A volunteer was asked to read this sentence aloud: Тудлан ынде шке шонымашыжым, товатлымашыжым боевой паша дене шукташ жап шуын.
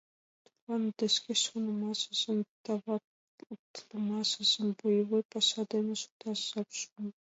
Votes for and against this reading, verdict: 1, 2, rejected